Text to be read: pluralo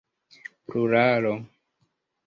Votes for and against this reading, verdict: 2, 1, accepted